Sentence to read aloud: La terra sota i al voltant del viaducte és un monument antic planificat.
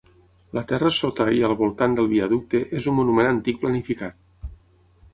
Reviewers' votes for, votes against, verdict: 6, 0, accepted